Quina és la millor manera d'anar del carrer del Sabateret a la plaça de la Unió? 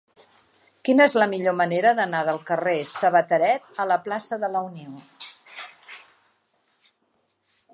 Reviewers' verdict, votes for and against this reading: rejected, 1, 2